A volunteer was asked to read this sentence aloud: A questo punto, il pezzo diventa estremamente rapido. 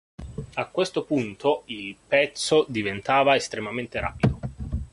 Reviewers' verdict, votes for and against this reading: rejected, 0, 2